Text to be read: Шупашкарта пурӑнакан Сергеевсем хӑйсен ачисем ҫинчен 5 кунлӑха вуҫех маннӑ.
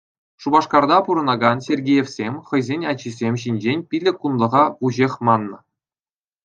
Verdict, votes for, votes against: rejected, 0, 2